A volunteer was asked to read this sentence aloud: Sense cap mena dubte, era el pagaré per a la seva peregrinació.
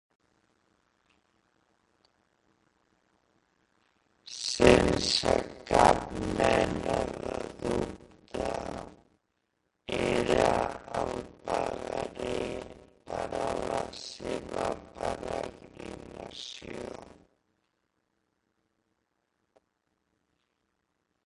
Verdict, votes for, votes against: rejected, 0, 2